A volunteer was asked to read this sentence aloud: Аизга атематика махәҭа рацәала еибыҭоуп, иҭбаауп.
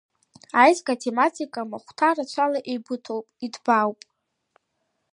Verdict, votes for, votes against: accepted, 2, 0